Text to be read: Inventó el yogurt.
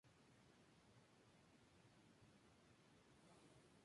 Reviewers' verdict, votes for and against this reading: rejected, 0, 4